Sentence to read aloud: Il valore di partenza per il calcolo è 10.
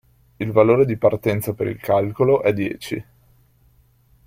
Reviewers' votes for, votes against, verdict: 0, 2, rejected